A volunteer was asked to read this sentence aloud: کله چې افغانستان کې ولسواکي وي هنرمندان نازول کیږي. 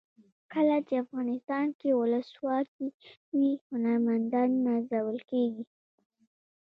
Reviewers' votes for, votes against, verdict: 0, 2, rejected